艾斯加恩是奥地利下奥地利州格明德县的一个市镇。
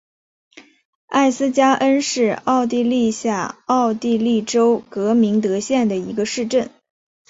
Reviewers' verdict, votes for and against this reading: accepted, 2, 0